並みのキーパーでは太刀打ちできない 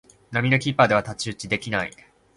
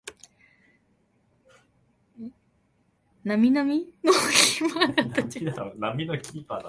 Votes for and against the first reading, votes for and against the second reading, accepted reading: 2, 0, 1, 2, first